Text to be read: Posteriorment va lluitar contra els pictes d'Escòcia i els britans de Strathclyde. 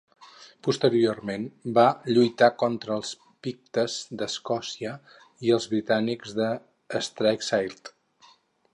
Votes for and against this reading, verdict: 4, 4, rejected